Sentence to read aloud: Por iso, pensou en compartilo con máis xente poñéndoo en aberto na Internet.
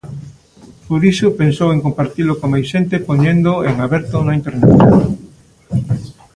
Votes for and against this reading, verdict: 2, 0, accepted